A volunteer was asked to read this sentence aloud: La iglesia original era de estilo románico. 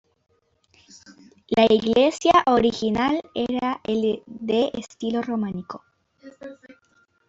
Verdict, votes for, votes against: rejected, 1, 2